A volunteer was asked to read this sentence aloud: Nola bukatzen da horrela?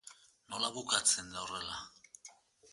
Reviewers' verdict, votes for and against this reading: accepted, 2, 1